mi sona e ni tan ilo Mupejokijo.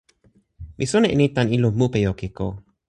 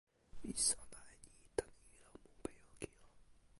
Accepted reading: first